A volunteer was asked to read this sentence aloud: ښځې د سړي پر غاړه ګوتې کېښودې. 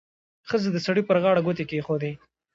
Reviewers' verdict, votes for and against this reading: accepted, 2, 1